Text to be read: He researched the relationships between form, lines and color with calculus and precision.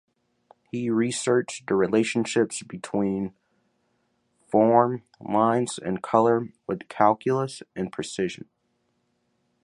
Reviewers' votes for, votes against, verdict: 2, 0, accepted